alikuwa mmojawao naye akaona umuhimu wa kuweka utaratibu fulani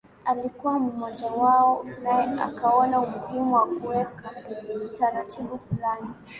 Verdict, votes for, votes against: accepted, 2, 0